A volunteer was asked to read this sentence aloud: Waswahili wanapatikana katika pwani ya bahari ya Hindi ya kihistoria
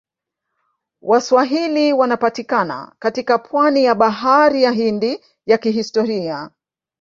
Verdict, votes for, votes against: rejected, 1, 2